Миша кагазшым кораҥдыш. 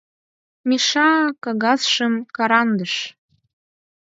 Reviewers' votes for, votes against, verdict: 0, 6, rejected